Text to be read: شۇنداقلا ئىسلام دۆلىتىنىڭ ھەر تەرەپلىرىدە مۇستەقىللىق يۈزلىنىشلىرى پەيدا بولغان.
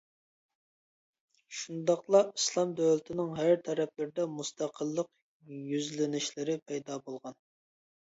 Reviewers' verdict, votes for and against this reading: accepted, 2, 0